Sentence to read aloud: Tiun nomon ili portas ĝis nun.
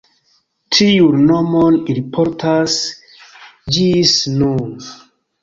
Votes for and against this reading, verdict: 2, 0, accepted